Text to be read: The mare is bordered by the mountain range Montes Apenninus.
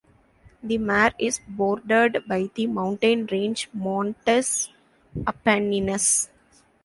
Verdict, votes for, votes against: rejected, 0, 2